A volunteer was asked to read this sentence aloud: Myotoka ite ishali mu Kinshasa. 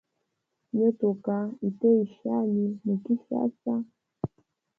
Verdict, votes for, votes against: rejected, 1, 2